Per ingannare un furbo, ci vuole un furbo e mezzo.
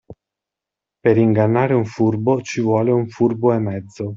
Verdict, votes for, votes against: accepted, 2, 0